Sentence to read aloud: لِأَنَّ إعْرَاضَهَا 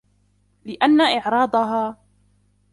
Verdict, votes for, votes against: rejected, 1, 2